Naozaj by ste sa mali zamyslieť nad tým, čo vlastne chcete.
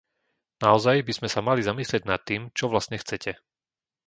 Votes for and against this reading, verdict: 0, 2, rejected